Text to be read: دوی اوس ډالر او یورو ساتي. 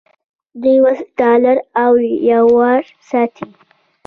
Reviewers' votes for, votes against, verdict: 0, 2, rejected